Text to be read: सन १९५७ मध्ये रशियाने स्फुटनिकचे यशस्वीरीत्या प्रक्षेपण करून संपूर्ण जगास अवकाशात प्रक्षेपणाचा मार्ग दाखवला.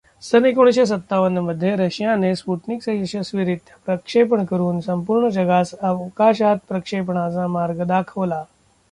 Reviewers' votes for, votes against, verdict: 0, 2, rejected